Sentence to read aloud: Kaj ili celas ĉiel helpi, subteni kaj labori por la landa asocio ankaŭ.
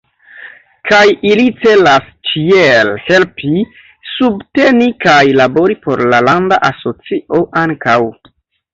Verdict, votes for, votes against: accepted, 3, 1